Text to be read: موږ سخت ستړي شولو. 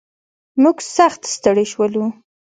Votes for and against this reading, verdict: 2, 0, accepted